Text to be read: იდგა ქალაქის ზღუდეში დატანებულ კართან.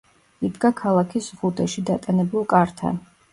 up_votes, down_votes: 2, 0